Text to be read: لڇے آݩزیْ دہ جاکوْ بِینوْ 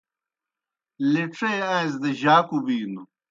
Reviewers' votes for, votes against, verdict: 2, 0, accepted